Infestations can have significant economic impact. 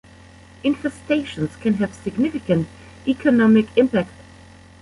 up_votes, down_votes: 0, 2